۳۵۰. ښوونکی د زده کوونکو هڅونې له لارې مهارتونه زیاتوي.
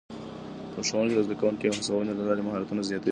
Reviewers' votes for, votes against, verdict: 0, 2, rejected